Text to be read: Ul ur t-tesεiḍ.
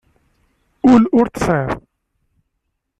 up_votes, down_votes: 2, 0